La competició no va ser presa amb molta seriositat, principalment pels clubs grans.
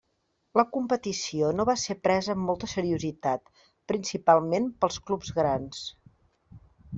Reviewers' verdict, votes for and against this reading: accepted, 3, 0